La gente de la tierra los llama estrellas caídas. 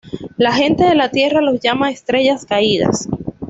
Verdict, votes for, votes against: accepted, 2, 0